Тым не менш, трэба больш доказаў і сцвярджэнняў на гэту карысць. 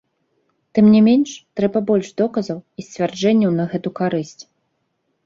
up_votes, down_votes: 2, 0